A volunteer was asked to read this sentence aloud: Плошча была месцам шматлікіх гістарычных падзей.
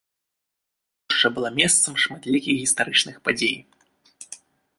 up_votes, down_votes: 0, 2